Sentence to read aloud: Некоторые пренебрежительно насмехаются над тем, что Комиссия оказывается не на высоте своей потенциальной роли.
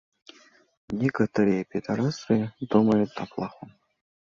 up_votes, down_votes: 0, 2